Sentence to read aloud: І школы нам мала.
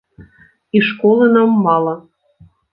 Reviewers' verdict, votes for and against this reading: accepted, 2, 0